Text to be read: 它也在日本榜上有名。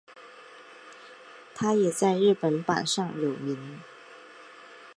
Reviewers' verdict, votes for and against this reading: accepted, 11, 0